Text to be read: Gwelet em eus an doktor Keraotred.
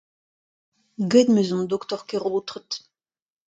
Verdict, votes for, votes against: accepted, 2, 0